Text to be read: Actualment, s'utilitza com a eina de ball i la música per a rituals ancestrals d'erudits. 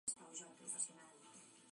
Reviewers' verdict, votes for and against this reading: rejected, 0, 2